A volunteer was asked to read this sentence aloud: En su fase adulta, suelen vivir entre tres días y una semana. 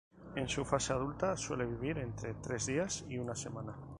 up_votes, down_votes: 0, 2